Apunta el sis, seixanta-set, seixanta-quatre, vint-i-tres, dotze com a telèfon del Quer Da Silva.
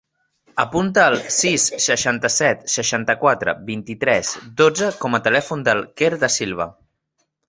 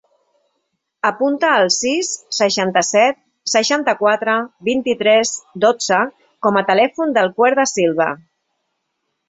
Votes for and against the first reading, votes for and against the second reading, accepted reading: 2, 0, 1, 2, first